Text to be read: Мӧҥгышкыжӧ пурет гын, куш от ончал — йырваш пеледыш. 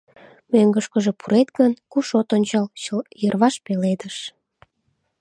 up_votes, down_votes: 0, 2